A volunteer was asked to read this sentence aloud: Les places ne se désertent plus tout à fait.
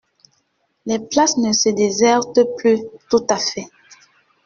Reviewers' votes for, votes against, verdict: 2, 1, accepted